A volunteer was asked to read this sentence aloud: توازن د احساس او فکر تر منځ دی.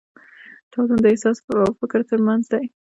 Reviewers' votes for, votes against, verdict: 1, 2, rejected